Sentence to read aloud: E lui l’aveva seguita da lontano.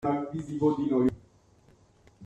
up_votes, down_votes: 0, 2